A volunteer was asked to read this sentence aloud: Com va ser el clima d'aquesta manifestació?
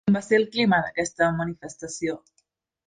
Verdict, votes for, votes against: rejected, 0, 2